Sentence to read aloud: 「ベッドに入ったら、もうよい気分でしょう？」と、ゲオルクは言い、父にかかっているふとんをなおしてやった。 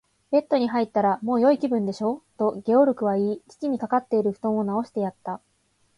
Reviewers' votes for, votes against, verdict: 2, 0, accepted